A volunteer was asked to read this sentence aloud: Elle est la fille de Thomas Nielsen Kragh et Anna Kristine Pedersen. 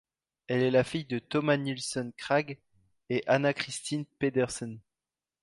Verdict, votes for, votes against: accepted, 2, 0